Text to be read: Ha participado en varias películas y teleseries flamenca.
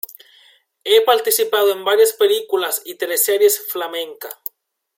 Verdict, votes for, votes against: rejected, 0, 2